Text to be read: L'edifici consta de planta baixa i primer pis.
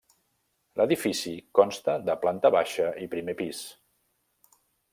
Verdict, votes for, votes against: accepted, 3, 0